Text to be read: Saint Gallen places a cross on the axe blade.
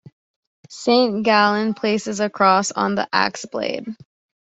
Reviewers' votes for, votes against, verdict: 2, 0, accepted